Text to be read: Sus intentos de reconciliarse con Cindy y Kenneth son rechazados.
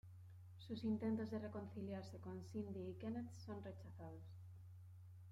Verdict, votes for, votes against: rejected, 1, 2